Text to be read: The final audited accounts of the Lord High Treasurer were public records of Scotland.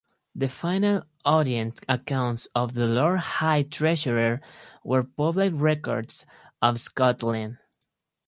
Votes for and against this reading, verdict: 2, 2, rejected